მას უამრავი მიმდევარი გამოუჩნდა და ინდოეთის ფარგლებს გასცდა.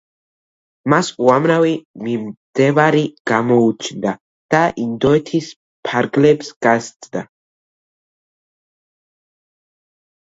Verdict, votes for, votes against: rejected, 0, 2